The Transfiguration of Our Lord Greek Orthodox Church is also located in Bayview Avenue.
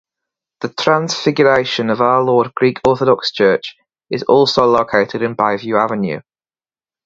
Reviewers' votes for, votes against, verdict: 4, 0, accepted